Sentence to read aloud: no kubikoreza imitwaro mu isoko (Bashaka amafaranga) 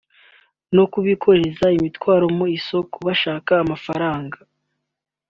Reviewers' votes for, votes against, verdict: 2, 0, accepted